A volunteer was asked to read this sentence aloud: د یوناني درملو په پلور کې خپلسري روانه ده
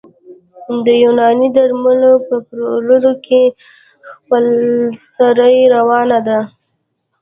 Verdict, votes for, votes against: rejected, 0, 2